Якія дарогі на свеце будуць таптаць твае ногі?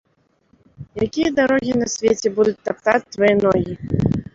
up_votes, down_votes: 2, 0